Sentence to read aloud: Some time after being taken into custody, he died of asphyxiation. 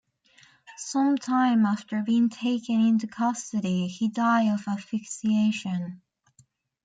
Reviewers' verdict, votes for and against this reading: rejected, 0, 2